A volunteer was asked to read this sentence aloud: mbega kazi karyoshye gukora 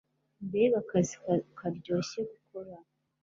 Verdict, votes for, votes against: rejected, 0, 2